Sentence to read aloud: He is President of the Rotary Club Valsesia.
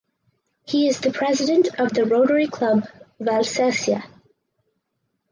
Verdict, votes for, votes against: rejected, 0, 2